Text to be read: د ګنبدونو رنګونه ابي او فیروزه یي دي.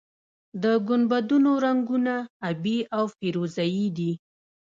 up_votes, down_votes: 1, 2